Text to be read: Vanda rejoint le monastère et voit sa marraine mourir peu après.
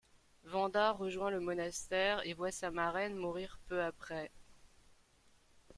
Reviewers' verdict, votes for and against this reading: rejected, 0, 2